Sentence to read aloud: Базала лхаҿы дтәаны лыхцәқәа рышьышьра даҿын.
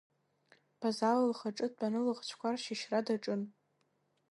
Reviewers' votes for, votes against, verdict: 1, 2, rejected